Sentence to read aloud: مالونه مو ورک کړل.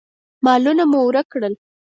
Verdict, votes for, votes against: accepted, 4, 0